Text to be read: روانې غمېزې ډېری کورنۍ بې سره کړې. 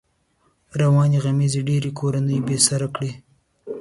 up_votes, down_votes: 2, 0